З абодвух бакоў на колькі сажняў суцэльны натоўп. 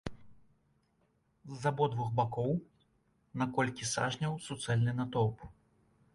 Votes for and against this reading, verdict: 2, 0, accepted